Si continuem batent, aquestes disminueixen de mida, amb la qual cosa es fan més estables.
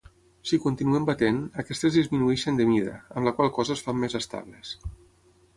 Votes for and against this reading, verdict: 6, 0, accepted